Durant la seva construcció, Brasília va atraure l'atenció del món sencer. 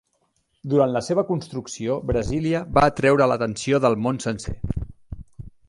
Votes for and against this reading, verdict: 1, 2, rejected